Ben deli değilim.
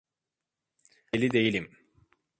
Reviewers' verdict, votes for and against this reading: rejected, 0, 2